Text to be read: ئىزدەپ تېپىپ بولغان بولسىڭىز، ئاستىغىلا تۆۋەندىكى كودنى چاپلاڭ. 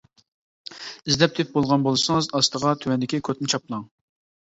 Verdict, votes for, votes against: rejected, 1, 2